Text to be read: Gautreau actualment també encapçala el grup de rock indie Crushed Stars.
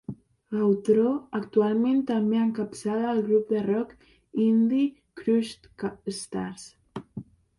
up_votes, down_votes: 2, 1